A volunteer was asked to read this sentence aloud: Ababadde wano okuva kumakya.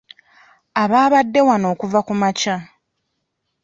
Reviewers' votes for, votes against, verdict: 1, 2, rejected